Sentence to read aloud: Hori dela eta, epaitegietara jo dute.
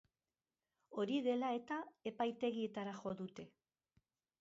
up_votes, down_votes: 0, 2